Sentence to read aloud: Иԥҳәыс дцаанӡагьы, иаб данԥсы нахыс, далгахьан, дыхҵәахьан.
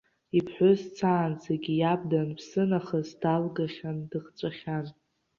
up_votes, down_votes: 0, 2